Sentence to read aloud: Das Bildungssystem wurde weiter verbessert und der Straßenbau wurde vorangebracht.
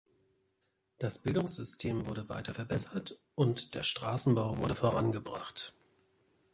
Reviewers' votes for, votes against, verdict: 2, 0, accepted